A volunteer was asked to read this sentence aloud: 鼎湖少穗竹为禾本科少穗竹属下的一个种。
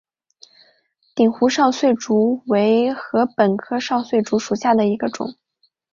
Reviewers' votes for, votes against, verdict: 2, 0, accepted